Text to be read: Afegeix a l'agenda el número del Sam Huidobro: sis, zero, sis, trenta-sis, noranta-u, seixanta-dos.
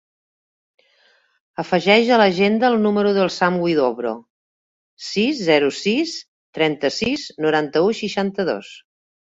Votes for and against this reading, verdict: 2, 0, accepted